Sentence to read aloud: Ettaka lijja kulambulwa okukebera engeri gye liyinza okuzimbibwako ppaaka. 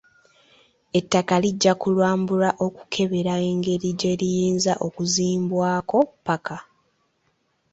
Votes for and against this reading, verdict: 1, 2, rejected